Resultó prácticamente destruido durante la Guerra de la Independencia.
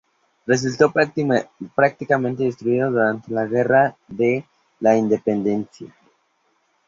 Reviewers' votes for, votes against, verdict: 0, 2, rejected